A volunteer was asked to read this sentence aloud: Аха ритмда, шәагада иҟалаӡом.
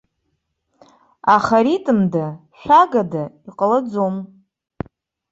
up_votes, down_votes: 2, 0